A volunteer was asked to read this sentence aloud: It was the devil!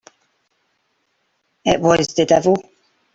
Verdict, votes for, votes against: accepted, 2, 0